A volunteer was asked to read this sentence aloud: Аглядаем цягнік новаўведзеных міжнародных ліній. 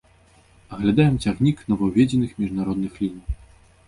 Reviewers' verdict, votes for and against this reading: accepted, 2, 0